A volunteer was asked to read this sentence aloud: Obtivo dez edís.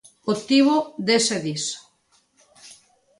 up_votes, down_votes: 2, 1